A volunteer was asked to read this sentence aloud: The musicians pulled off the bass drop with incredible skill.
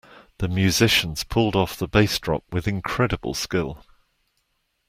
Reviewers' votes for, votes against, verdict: 2, 0, accepted